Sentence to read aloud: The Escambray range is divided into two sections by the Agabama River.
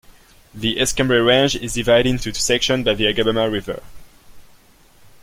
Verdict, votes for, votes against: rejected, 1, 2